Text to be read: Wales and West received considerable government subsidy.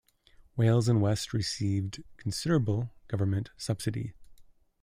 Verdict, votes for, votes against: accepted, 2, 0